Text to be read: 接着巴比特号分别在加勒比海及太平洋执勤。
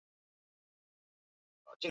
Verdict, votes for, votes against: rejected, 0, 2